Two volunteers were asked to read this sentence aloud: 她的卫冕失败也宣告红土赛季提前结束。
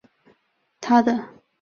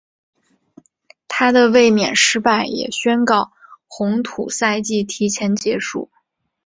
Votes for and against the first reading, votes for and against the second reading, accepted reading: 1, 2, 4, 0, second